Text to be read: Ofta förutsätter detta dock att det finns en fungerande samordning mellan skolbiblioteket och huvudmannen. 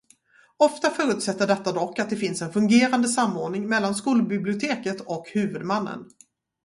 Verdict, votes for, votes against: rejected, 2, 2